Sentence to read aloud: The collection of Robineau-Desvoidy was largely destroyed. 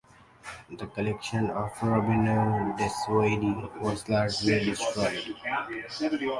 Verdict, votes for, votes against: rejected, 1, 3